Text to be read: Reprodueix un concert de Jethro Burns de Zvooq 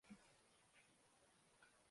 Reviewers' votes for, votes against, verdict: 0, 2, rejected